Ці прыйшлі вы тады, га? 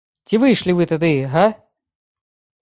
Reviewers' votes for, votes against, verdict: 0, 2, rejected